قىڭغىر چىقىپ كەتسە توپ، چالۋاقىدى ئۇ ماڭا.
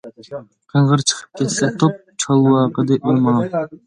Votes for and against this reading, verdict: 2, 1, accepted